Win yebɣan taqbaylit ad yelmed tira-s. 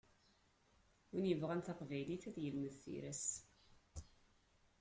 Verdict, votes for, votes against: rejected, 0, 2